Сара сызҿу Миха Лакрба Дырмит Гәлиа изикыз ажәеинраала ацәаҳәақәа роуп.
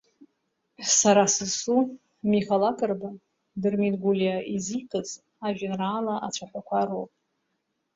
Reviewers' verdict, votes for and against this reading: rejected, 1, 2